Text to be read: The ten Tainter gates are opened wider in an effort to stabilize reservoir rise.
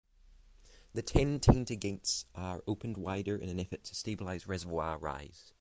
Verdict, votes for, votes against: accepted, 3, 0